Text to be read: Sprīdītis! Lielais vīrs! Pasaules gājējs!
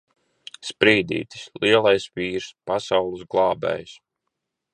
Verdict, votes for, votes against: rejected, 1, 2